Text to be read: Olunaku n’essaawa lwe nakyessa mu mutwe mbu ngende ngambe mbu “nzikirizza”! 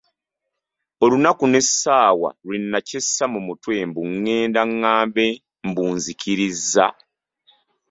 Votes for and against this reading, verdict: 0, 2, rejected